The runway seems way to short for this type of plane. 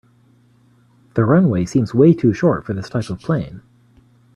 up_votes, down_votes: 1, 2